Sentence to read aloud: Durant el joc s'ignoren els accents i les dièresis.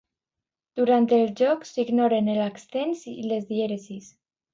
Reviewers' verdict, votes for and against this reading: rejected, 1, 2